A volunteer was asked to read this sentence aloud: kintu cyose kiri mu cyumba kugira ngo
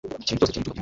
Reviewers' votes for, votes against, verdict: 2, 1, accepted